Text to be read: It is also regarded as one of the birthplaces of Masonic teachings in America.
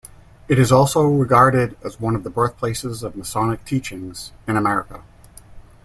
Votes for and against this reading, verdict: 2, 0, accepted